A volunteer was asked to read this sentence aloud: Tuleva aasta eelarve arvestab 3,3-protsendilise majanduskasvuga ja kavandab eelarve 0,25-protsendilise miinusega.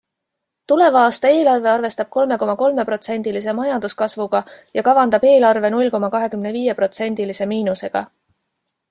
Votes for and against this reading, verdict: 0, 2, rejected